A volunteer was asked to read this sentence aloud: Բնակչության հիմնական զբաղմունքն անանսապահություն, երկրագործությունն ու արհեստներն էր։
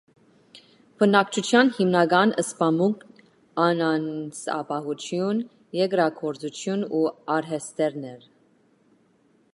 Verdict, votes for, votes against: rejected, 1, 2